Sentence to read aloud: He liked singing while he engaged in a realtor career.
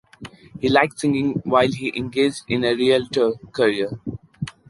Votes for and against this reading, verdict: 1, 2, rejected